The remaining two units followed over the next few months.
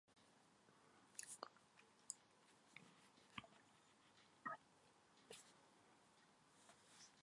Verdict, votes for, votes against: rejected, 0, 2